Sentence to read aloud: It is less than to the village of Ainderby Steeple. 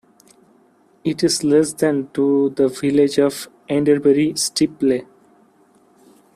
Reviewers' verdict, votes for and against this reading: rejected, 0, 2